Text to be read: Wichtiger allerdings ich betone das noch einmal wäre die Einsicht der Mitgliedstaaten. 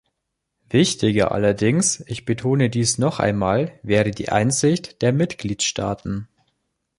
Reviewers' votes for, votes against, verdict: 0, 3, rejected